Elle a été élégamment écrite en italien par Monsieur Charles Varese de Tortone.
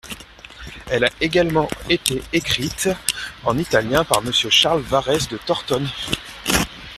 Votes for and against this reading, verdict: 1, 2, rejected